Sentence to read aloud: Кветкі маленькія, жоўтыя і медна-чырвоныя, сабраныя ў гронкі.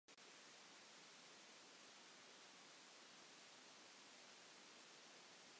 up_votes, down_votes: 0, 2